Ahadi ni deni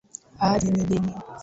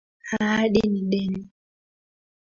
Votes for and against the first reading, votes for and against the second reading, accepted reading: 2, 3, 2, 1, second